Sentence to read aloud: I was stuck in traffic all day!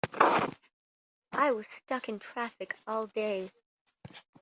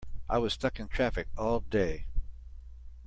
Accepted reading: second